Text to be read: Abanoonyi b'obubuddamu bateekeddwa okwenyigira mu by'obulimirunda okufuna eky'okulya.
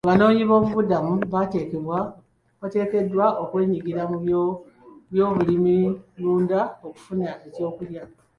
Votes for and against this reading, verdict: 0, 3, rejected